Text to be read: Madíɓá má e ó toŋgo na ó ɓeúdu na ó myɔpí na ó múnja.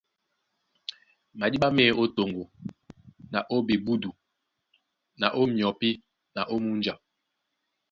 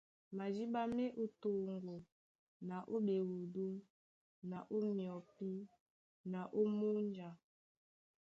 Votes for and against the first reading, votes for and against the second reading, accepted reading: 1, 2, 2, 0, second